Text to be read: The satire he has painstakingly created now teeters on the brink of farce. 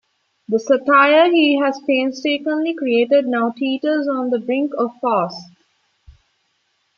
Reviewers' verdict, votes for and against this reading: rejected, 1, 2